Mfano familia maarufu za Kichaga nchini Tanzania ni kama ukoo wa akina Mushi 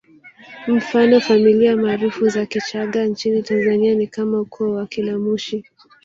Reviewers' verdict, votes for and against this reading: rejected, 0, 2